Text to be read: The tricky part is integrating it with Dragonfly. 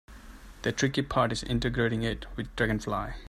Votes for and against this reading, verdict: 2, 0, accepted